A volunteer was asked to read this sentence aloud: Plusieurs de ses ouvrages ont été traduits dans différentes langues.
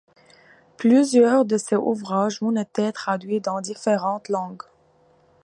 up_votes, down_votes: 2, 0